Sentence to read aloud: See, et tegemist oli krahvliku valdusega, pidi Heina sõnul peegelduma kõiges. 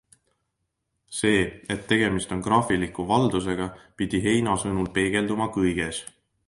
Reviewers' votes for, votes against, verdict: 2, 1, accepted